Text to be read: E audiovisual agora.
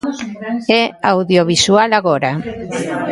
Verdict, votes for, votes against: rejected, 0, 2